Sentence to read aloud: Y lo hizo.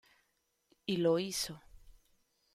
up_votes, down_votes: 0, 2